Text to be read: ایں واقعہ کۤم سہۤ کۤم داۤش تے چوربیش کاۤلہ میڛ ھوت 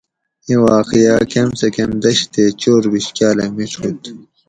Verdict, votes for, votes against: rejected, 0, 2